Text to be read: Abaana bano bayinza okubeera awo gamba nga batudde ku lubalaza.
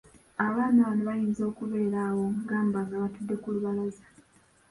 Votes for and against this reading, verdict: 1, 2, rejected